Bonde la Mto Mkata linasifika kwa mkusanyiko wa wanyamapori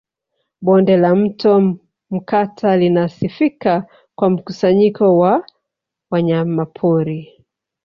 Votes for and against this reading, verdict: 0, 3, rejected